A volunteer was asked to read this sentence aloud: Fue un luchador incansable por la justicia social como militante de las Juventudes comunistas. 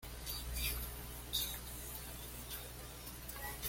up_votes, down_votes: 1, 2